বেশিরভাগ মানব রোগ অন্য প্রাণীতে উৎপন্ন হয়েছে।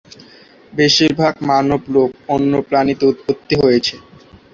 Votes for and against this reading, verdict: 0, 2, rejected